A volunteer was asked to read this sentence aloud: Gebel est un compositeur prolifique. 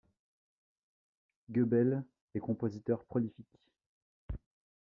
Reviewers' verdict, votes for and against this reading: rejected, 0, 2